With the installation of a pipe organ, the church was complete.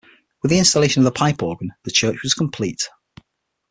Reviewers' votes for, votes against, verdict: 6, 0, accepted